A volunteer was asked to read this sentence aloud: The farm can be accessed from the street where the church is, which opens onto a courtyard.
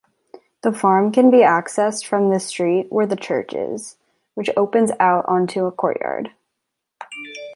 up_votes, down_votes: 1, 2